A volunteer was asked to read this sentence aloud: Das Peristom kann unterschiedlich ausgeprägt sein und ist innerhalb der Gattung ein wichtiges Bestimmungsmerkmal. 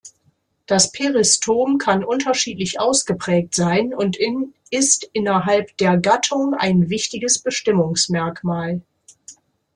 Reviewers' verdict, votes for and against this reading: rejected, 1, 2